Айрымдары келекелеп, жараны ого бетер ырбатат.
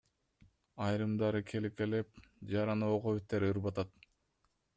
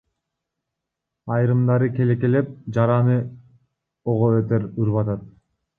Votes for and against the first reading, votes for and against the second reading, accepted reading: 2, 0, 0, 2, first